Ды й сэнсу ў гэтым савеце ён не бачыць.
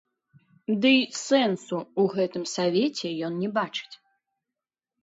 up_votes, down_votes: 0, 2